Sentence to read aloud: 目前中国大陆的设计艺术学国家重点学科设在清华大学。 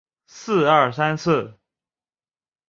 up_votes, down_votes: 1, 4